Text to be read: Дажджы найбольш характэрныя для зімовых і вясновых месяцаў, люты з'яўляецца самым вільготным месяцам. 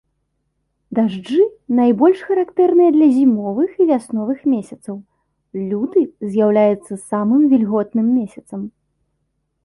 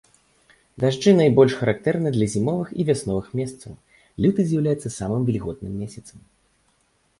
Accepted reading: first